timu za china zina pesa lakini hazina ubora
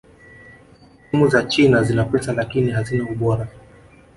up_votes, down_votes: 2, 0